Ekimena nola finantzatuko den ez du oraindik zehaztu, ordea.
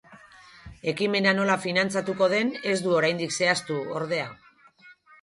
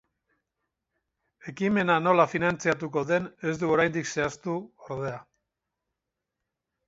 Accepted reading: first